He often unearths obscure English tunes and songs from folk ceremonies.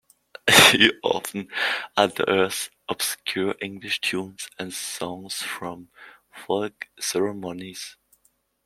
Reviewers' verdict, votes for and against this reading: accepted, 2, 0